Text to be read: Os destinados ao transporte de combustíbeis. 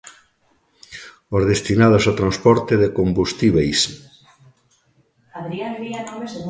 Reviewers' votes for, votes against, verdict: 2, 0, accepted